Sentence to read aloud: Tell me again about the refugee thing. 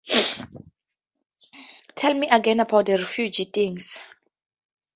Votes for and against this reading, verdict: 0, 4, rejected